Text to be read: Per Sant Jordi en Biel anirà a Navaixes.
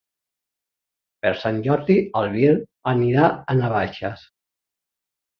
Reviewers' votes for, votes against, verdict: 2, 3, rejected